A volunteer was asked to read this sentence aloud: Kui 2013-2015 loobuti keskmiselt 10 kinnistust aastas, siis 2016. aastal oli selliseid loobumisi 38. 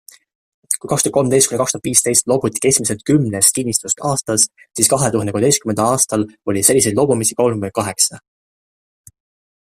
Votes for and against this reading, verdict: 0, 2, rejected